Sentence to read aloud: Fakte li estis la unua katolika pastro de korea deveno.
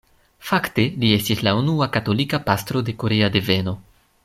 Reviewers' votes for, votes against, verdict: 2, 0, accepted